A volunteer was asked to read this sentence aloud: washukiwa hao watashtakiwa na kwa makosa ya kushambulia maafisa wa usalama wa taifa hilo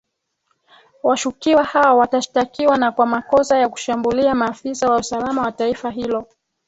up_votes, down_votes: 2, 0